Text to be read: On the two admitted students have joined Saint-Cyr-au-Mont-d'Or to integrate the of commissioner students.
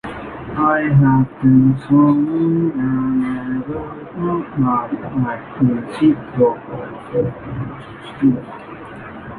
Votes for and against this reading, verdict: 0, 2, rejected